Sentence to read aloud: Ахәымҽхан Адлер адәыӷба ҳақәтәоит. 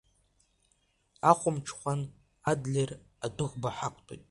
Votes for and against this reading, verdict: 1, 2, rejected